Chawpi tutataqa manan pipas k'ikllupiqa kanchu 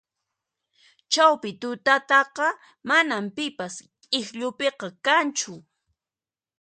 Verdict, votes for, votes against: accepted, 2, 0